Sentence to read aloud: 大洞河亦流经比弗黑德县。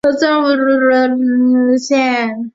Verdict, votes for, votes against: rejected, 0, 2